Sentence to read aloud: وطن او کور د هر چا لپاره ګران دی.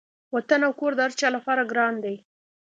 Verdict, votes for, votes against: accepted, 2, 0